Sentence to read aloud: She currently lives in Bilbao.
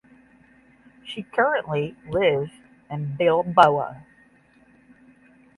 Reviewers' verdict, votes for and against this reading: accepted, 10, 0